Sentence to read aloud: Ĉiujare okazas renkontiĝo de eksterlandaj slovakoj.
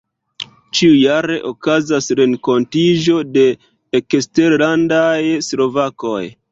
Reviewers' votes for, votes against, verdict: 2, 0, accepted